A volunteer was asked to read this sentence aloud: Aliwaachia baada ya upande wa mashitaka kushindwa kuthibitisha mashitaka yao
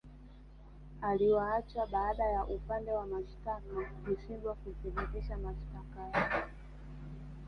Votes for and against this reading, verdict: 2, 1, accepted